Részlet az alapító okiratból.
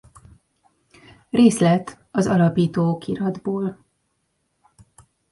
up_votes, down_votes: 2, 0